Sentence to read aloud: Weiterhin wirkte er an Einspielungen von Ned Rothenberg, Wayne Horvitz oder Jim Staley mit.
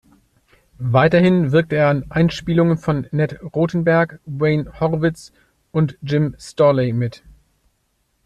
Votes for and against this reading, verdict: 1, 2, rejected